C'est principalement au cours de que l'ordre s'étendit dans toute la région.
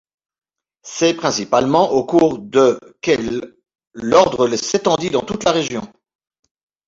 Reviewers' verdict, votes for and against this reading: accepted, 2, 0